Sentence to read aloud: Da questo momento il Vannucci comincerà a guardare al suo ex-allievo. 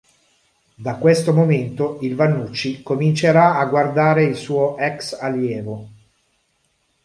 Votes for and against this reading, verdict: 1, 2, rejected